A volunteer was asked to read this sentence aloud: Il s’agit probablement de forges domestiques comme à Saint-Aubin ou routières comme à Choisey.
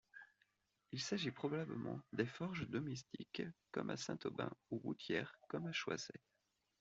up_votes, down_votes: 2, 0